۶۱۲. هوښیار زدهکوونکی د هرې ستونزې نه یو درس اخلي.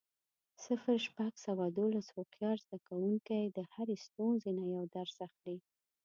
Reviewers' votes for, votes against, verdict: 0, 2, rejected